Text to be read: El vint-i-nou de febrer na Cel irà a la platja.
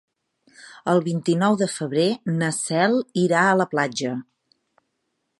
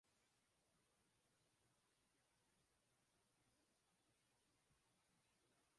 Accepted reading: first